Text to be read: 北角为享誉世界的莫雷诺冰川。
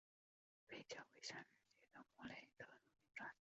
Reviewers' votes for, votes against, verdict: 0, 2, rejected